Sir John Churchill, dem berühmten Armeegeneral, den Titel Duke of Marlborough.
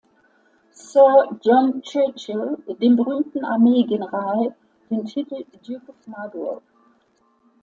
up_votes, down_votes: 2, 1